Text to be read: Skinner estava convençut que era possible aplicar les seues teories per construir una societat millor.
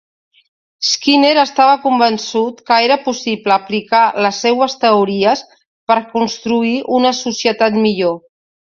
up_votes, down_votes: 2, 0